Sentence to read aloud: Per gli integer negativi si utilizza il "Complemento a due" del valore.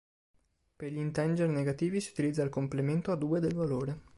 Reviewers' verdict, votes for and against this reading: rejected, 1, 2